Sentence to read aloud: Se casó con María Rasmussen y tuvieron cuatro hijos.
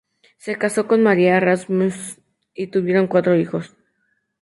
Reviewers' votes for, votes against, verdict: 2, 0, accepted